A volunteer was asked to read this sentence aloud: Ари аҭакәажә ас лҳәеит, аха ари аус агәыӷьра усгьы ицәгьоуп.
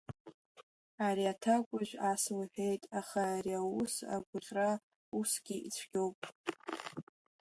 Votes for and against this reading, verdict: 1, 2, rejected